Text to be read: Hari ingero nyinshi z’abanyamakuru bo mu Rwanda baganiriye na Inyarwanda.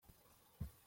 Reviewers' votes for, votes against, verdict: 0, 2, rejected